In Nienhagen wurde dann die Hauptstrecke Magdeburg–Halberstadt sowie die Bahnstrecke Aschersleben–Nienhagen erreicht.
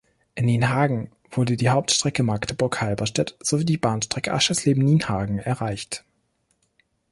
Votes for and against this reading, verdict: 1, 2, rejected